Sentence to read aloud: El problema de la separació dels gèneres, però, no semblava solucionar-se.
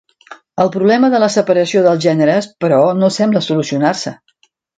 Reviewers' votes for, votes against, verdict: 0, 2, rejected